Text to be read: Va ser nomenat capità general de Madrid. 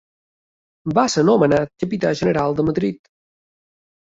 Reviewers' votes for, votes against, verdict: 3, 0, accepted